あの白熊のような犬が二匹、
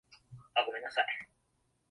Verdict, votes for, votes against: rejected, 0, 2